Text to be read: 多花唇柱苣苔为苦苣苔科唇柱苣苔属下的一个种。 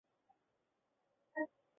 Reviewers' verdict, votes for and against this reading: rejected, 0, 2